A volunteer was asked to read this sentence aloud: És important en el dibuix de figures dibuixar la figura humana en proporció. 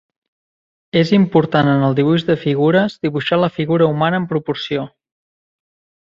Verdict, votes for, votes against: accepted, 6, 0